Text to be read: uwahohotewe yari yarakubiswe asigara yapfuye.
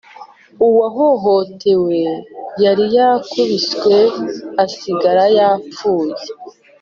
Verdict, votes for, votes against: accepted, 2, 1